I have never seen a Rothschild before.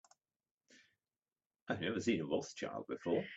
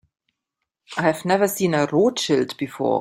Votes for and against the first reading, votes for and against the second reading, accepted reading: 0, 2, 2, 1, second